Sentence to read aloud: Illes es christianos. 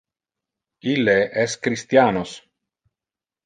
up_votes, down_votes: 1, 2